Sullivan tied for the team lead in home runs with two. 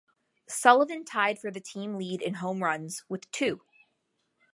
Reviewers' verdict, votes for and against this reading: accepted, 2, 0